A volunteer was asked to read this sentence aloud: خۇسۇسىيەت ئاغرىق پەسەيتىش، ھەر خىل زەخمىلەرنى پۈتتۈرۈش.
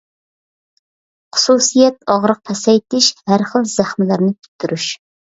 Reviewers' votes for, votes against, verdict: 2, 0, accepted